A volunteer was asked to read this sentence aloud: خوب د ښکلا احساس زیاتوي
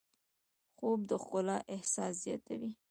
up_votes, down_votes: 1, 2